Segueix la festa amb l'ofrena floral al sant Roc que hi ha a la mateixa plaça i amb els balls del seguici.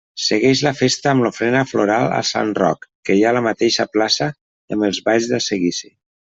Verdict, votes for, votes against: rejected, 1, 2